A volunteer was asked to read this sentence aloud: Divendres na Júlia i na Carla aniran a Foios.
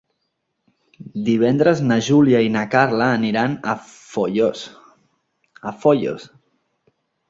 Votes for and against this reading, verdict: 0, 2, rejected